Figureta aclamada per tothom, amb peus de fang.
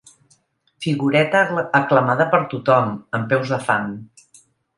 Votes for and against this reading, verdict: 1, 2, rejected